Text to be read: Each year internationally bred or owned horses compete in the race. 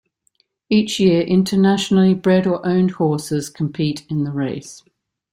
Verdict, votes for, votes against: accepted, 2, 1